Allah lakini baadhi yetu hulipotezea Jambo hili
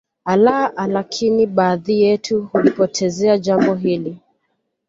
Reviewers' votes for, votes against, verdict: 0, 2, rejected